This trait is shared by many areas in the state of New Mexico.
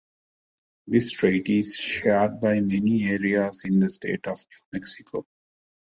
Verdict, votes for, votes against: accepted, 2, 1